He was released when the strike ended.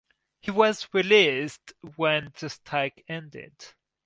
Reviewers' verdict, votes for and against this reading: accepted, 4, 0